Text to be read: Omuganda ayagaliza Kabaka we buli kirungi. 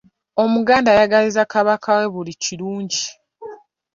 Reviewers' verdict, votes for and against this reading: accepted, 2, 0